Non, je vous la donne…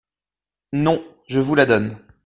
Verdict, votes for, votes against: accepted, 2, 0